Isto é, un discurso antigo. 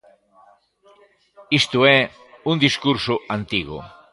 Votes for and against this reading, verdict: 0, 2, rejected